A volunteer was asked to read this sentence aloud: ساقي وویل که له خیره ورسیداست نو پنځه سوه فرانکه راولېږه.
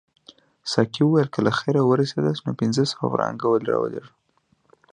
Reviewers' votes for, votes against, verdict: 2, 0, accepted